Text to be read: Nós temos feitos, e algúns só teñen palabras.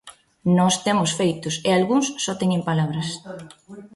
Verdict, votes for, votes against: rejected, 1, 2